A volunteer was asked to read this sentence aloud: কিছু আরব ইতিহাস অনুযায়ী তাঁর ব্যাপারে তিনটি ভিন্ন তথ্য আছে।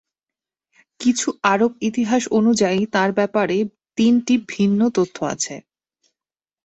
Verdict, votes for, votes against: accepted, 2, 0